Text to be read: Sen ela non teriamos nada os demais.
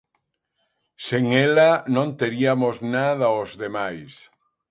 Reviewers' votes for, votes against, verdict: 2, 3, rejected